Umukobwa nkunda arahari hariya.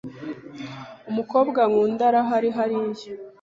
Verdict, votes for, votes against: accepted, 2, 0